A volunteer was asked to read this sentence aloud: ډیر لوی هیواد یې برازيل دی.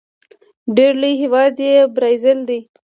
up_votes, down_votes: 1, 2